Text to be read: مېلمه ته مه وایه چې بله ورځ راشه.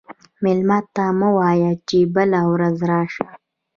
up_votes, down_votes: 2, 1